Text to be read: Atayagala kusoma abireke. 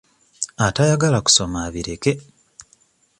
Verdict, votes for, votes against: accepted, 2, 0